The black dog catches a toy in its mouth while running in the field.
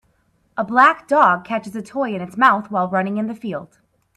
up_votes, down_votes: 0, 4